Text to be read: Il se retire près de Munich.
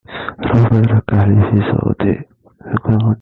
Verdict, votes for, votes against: rejected, 0, 2